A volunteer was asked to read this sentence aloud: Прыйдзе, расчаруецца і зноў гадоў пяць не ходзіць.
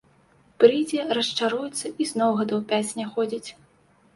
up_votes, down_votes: 2, 0